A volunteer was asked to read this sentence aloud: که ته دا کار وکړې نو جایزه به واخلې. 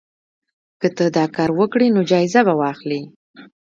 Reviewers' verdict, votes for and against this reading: accepted, 2, 0